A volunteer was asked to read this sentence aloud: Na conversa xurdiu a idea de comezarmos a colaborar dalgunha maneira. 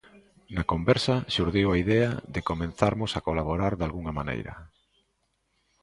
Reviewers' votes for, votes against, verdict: 0, 2, rejected